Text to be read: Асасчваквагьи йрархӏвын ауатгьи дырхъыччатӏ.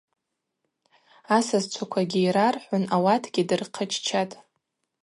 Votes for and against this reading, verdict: 2, 0, accepted